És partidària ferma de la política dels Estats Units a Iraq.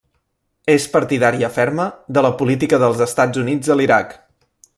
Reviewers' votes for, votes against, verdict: 1, 2, rejected